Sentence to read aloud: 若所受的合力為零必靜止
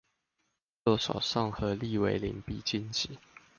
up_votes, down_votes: 0, 2